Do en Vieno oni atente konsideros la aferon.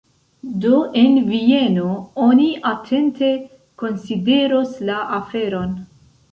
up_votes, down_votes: 2, 0